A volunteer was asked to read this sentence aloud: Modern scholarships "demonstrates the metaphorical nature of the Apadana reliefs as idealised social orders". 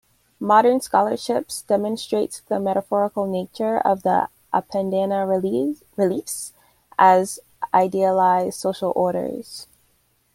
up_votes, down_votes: 0, 2